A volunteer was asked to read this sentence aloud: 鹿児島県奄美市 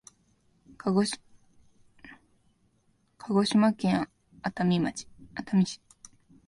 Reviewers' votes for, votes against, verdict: 0, 2, rejected